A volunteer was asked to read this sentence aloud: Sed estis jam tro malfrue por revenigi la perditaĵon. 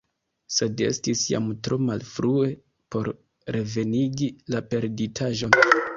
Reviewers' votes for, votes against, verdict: 0, 2, rejected